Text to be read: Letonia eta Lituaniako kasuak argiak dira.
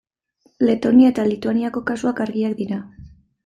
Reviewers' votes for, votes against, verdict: 2, 0, accepted